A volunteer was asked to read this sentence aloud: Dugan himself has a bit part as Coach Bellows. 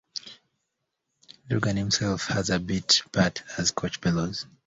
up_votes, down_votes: 2, 0